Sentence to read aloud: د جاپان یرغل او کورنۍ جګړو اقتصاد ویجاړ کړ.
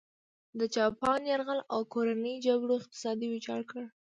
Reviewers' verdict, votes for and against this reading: accepted, 2, 1